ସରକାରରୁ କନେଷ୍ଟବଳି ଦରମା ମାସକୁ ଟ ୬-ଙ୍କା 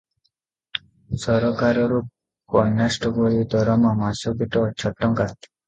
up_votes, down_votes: 0, 2